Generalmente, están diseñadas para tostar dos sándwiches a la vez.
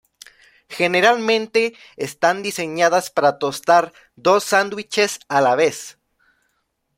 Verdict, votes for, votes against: accepted, 2, 0